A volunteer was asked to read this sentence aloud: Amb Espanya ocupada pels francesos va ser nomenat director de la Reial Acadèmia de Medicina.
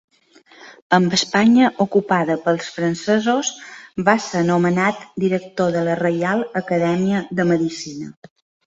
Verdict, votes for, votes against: rejected, 1, 2